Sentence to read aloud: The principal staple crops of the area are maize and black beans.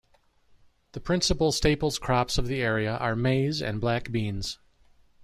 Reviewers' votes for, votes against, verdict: 1, 2, rejected